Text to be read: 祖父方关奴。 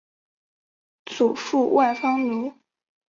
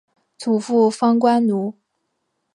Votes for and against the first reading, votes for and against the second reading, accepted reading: 0, 3, 4, 0, second